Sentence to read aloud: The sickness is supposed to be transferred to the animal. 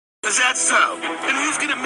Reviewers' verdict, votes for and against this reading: rejected, 0, 2